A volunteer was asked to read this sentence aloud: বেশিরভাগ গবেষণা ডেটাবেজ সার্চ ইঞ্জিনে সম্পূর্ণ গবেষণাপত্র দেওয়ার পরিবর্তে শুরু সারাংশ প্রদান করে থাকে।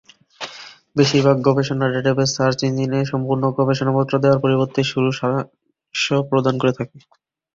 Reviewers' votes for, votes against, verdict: 0, 2, rejected